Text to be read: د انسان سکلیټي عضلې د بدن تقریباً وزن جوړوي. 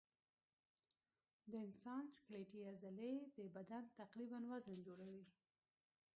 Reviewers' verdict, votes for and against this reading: accepted, 2, 0